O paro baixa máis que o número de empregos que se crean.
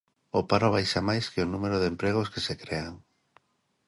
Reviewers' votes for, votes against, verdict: 2, 0, accepted